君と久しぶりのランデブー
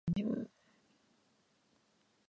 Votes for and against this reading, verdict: 0, 2, rejected